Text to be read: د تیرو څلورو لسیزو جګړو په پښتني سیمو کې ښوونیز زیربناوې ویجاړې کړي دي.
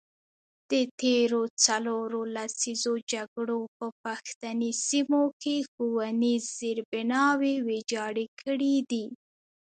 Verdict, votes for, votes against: rejected, 0, 2